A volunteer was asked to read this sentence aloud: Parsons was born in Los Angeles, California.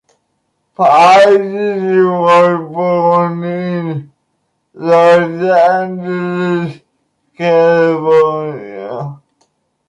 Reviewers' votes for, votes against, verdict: 1, 2, rejected